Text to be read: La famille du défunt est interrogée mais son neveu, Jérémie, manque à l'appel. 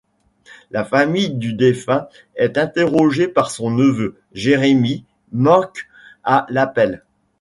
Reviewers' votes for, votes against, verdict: 1, 2, rejected